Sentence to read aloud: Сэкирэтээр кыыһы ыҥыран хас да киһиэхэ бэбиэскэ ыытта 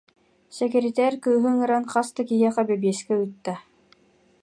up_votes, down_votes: 0, 2